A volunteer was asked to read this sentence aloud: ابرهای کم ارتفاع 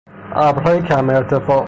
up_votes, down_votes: 0, 3